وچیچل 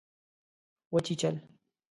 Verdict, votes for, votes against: accepted, 3, 0